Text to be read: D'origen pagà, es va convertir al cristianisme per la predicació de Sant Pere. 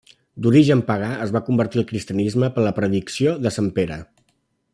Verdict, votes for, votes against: rejected, 1, 2